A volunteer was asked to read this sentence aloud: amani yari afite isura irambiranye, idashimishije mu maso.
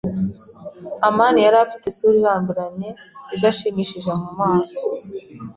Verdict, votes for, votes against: accepted, 2, 0